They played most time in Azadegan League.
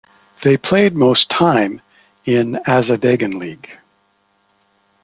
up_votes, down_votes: 1, 2